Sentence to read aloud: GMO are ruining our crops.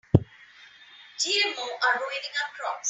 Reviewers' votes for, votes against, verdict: 2, 1, accepted